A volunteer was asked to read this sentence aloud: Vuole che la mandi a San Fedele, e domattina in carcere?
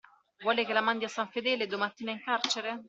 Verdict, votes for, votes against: accepted, 2, 0